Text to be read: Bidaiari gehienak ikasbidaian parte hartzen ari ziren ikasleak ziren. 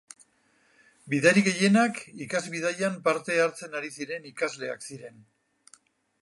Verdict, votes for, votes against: rejected, 0, 4